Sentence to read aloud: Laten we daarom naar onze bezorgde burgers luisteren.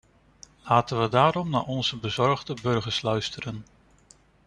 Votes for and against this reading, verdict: 2, 0, accepted